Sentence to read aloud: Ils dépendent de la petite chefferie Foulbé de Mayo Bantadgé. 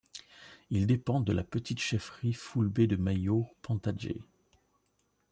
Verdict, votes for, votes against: rejected, 1, 2